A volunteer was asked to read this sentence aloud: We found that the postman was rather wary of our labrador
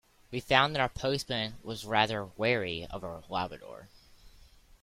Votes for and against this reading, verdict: 0, 2, rejected